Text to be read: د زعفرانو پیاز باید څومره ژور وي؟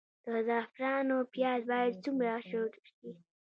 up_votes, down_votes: 2, 0